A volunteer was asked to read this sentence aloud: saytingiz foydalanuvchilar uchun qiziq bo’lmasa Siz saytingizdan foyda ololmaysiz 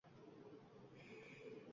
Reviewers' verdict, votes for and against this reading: rejected, 0, 2